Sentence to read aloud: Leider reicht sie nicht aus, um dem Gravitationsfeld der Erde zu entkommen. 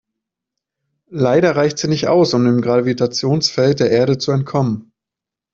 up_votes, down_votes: 0, 2